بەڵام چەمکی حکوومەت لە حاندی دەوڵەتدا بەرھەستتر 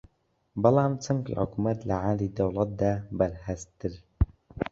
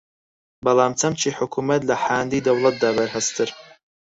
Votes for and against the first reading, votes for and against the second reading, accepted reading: 1, 2, 4, 2, second